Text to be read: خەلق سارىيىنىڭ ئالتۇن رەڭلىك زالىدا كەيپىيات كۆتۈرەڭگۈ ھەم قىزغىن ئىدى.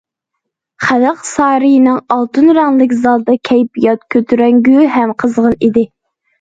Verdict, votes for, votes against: accepted, 2, 0